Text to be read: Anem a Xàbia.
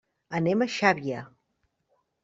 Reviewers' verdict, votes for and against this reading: accepted, 2, 0